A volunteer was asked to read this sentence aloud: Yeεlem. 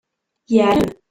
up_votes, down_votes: 0, 2